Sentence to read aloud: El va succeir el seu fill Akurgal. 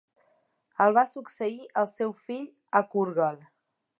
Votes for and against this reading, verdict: 2, 0, accepted